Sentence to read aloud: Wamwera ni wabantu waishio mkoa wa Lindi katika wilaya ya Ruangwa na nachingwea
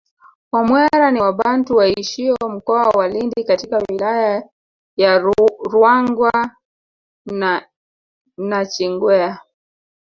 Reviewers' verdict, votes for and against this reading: rejected, 1, 2